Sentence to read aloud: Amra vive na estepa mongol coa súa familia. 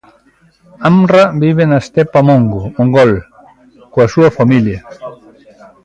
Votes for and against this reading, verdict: 0, 2, rejected